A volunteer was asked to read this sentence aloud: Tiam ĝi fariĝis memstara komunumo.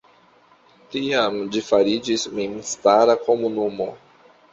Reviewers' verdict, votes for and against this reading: accepted, 2, 0